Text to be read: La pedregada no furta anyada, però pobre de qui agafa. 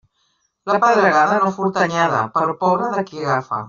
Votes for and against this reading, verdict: 0, 2, rejected